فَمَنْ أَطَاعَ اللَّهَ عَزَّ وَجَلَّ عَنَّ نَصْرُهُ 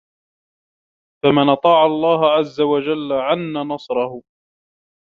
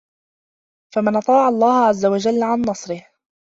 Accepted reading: first